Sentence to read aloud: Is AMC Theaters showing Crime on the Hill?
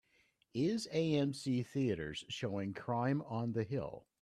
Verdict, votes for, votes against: accepted, 2, 0